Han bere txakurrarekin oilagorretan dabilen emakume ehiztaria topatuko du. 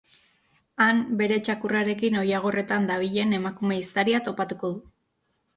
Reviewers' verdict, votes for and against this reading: accepted, 4, 0